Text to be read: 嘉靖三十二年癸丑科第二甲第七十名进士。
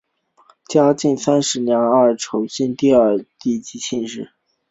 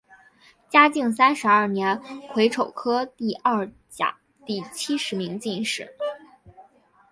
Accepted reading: second